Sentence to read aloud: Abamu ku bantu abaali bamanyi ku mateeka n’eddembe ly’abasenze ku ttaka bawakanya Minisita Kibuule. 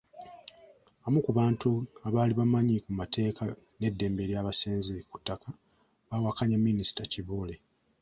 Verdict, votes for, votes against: accepted, 2, 0